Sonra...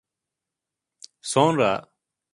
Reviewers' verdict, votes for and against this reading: accepted, 2, 0